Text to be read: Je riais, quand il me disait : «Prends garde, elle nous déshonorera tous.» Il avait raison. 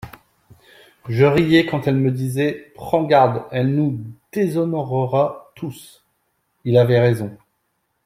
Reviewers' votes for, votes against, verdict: 0, 2, rejected